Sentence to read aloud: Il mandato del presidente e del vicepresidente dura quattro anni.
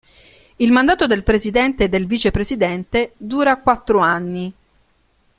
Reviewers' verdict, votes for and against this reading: accepted, 2, 1